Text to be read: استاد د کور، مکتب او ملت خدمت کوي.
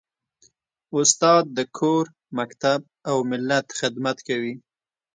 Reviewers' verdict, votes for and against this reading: accepted, 2, 0